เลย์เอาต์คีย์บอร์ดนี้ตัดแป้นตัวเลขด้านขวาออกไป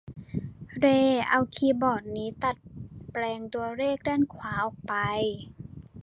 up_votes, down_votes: 0, 2